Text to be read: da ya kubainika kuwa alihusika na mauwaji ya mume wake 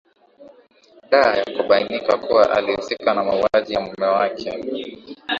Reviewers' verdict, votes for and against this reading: accepted, 2, 1